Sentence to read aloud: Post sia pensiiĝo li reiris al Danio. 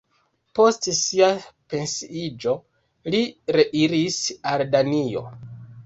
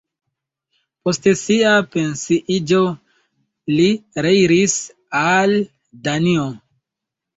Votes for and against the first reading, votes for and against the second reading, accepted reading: 2, 1, 0, 2, first